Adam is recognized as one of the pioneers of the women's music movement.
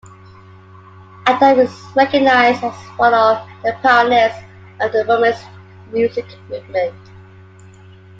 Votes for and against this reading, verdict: 2, 0, accepted